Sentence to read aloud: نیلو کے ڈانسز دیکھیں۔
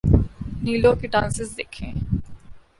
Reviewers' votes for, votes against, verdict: 2, 0, accepted